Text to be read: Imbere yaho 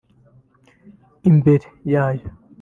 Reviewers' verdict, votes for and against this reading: rejected, 0, 2